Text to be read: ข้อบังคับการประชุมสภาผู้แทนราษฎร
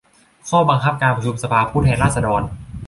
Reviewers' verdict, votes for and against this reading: accepted, 2, 0